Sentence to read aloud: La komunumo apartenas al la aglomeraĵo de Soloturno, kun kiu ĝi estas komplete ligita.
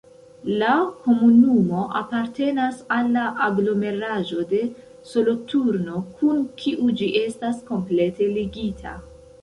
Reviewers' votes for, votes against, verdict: 1, 2, rejected